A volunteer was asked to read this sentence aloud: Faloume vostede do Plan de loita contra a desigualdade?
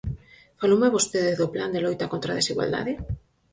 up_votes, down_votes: 4, 0